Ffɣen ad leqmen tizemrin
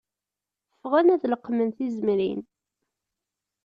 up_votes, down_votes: 2, 0